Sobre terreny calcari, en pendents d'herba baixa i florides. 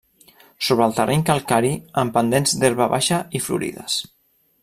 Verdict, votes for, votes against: rejected, 1, 2